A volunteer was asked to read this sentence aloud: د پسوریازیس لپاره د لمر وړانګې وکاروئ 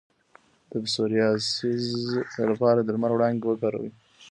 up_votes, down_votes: 0, 2